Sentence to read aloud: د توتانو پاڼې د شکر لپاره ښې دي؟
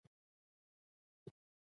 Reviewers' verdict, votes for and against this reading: rejected, 0, 2